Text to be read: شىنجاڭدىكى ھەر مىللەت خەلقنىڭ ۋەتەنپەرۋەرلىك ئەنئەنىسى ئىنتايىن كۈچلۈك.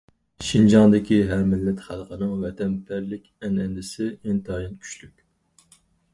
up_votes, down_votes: 0, 4